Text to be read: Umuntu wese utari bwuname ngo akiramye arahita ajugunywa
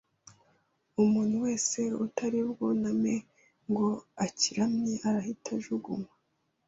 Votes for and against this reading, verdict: 2, 0, accepted